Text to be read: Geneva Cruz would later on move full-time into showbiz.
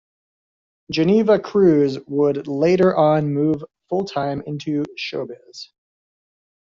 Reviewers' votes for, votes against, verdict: 2, 0, accepted